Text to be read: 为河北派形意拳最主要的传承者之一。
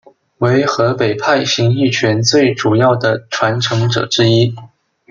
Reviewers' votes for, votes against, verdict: 2, 0, accepted